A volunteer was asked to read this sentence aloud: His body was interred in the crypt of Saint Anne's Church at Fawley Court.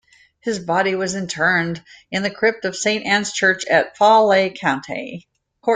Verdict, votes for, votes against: rejected, 1, 2